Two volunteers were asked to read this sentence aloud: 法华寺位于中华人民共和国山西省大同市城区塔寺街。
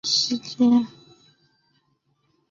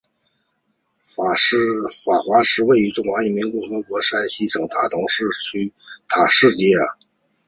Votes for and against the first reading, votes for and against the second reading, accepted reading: 0, 2, 6, 3, second